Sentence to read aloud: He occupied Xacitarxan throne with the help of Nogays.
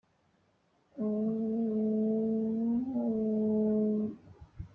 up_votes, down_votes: 1, 2